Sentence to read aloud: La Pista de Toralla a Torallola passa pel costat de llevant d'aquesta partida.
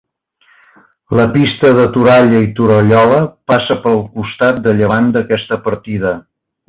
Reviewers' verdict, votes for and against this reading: rejected, 1, 2